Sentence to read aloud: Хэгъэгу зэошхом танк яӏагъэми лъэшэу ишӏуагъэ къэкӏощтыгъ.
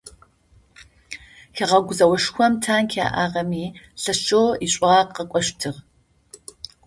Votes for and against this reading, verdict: 2, 0, accepted